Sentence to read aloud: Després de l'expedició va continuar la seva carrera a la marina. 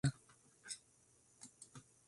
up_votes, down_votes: 0, 3